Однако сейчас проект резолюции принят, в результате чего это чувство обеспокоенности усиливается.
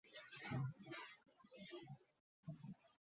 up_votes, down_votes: 0, 2